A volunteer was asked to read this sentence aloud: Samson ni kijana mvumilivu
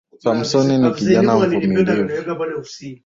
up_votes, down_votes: 0, 2